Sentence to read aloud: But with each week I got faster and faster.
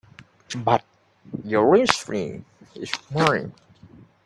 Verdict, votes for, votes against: rejected, 0, 4